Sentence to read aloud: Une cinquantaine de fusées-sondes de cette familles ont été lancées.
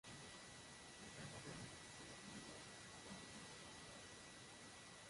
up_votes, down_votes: 0, 2